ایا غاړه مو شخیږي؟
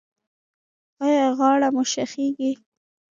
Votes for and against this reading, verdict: 1, 2, rejected